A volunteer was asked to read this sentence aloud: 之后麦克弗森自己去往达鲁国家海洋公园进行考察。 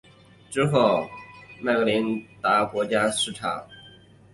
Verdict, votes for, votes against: rejected, 0, 2